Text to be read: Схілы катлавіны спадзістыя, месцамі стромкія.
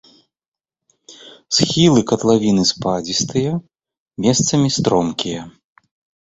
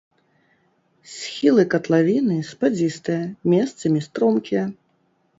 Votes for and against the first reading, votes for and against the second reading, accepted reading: 2, 1, 1, 2, first